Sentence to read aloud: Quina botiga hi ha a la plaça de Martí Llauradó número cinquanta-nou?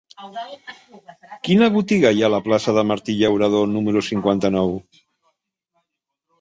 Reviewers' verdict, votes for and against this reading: accepted, 2, 0